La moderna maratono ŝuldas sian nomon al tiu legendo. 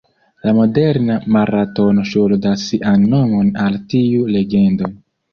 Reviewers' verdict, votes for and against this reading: accepted, 2, 1